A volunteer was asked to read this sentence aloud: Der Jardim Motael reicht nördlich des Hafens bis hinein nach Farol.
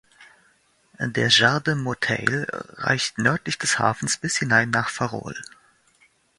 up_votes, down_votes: 2, 0